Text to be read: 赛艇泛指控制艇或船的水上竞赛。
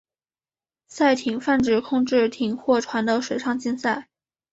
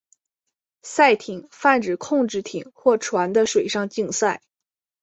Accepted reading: second